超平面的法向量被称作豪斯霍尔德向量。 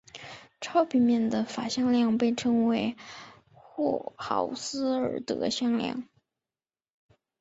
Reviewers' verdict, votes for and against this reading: rejected, 0, 2